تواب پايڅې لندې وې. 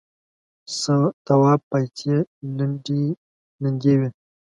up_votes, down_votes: 0, 2